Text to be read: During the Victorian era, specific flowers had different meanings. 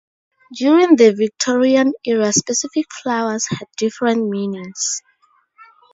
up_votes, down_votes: 4, 0